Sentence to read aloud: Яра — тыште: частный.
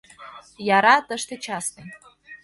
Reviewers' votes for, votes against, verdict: 2, 0, accepted